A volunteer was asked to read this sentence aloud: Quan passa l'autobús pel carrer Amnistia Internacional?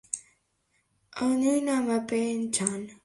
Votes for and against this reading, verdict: 0, 2, rejected